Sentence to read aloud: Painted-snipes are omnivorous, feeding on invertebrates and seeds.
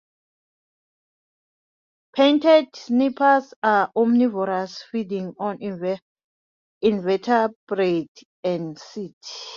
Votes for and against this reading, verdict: 0, 2, rejected